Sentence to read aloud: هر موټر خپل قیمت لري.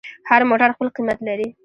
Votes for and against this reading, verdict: 2, 0, accepted